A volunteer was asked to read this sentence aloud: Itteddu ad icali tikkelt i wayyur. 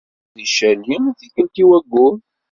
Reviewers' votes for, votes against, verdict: 1, 2, rejected